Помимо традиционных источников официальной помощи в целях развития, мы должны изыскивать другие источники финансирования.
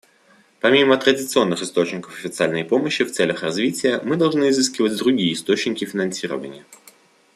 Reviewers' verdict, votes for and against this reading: accepted, 2, 0